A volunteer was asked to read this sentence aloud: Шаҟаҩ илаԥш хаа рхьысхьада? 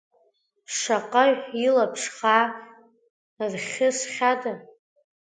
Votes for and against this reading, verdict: 0, 2, rejected